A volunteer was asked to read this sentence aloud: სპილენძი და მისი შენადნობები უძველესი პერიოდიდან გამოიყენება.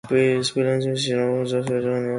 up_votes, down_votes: 0, 2